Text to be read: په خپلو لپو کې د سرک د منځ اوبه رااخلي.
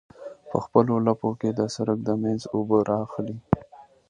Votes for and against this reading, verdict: 2, 0, accepted